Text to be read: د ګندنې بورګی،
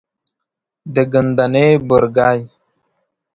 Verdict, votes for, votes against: accepted, 2, 0